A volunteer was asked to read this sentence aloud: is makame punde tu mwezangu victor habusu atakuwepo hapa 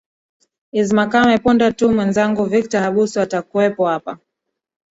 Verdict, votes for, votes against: accepted, 3, 1